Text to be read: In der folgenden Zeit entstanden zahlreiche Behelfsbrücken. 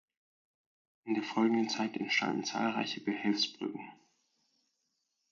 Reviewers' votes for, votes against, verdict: 4, 0, accepted